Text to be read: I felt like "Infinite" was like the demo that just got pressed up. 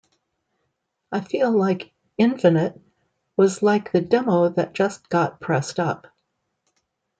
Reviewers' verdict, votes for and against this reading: rejected, 1, 2